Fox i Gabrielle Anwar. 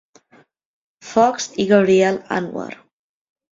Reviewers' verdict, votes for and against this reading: rejected, 1, 2